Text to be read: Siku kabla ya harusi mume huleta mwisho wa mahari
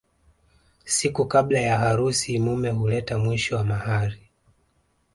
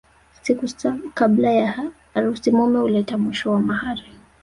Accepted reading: first